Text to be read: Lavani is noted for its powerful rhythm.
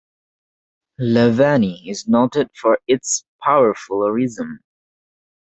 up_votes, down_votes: 2, 0